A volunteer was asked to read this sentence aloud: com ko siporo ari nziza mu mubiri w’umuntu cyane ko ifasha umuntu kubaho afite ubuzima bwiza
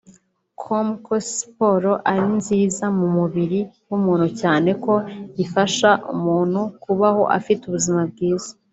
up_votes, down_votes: 2, 0